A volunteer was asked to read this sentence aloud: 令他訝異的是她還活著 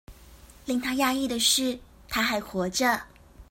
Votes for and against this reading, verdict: 2, 0, accepted